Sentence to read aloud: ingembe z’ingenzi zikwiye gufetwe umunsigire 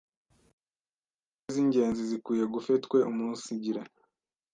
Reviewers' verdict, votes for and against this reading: rejected, 1, 2